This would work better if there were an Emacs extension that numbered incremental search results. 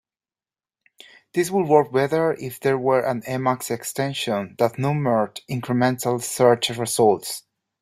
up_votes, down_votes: 2, 0